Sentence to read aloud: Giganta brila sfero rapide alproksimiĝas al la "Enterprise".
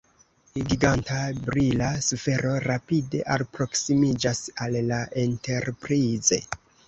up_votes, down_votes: 0, 2